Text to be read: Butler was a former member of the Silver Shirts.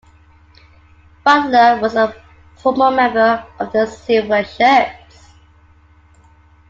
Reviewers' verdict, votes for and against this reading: accepted, 2, 0